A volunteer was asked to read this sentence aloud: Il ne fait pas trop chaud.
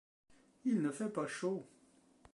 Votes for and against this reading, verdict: 0, 2, rejected